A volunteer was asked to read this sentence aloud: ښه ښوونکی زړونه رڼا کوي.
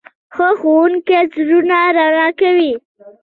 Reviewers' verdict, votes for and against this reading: accepted, 2, 0